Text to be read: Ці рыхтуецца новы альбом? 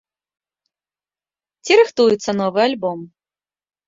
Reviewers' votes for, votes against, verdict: 2, 0, accepted